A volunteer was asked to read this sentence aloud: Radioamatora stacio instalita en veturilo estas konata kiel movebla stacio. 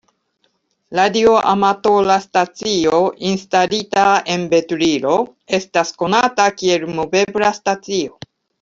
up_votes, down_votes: 1, 2